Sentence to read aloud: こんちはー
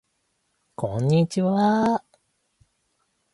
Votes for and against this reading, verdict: 0, 2, rejected